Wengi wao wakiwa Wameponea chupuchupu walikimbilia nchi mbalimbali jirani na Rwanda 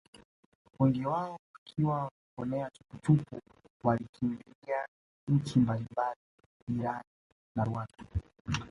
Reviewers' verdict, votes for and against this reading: accepted, 2, 0